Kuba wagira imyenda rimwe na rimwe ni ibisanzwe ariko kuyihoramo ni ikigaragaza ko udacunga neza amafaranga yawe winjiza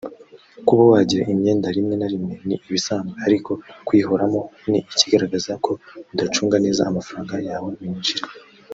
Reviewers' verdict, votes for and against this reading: rejected, 0, 2